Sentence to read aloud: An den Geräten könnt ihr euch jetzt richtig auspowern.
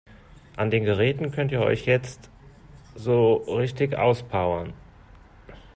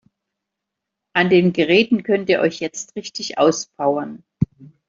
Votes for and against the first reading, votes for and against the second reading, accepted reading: 0, 2, 3, 0, second